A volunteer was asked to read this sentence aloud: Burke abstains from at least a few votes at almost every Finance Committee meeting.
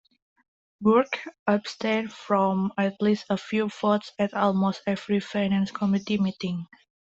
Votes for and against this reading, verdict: 1, 2, rejected